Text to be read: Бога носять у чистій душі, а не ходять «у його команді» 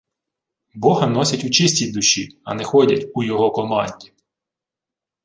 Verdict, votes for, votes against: rejected, 1, 2